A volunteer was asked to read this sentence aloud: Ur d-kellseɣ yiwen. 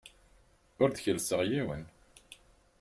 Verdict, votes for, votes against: accepted, 4, 0